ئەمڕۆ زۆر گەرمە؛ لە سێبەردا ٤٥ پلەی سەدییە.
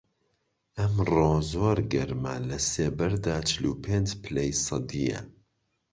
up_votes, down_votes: 0, 2